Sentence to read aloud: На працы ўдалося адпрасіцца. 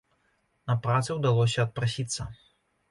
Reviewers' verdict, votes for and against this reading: accepted, 2, 0